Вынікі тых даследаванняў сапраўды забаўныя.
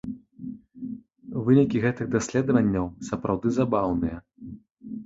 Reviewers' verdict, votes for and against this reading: rejected, 0, 2